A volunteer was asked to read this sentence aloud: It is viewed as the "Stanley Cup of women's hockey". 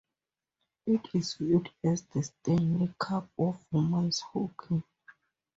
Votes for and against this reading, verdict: 0, 2, rejected